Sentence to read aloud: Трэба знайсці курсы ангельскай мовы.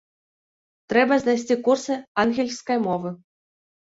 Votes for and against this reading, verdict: 0, 2, rejected